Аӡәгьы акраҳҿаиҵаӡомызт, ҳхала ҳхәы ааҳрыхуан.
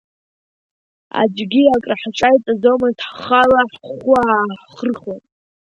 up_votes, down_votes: 3, 2